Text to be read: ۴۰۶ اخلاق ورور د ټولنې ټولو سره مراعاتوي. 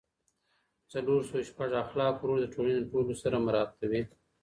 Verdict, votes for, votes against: rejected, 0, 2